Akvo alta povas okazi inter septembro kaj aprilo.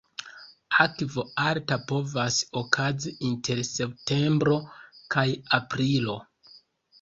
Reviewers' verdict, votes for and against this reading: rejected, 1, 2